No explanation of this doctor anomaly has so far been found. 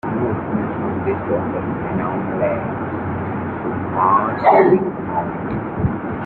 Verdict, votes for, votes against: rejected, 1, 2